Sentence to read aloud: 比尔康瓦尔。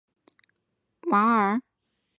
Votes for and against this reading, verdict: 1, 2, rejected